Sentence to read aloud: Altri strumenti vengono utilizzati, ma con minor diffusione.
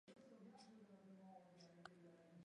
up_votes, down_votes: 0, 2